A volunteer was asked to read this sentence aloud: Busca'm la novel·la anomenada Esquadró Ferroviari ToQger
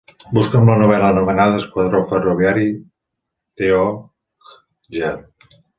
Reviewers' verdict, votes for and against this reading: rejected, 1, 2